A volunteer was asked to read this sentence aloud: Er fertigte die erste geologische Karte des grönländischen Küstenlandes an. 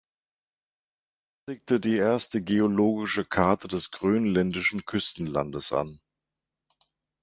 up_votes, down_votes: 0, 2